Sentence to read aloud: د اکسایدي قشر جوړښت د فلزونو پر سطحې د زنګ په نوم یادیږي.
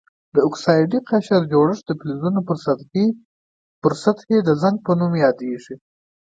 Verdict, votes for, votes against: accepted, 2, 0